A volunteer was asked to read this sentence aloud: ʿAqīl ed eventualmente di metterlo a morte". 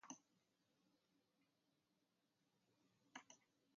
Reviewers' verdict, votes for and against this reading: rejected, 0, 3